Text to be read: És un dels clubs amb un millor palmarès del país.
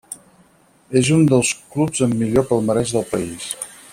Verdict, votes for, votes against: rejected, 2, 4